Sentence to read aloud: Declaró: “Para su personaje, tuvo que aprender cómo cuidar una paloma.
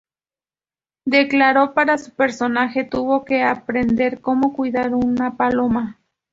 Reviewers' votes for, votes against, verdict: 2, 2, rejected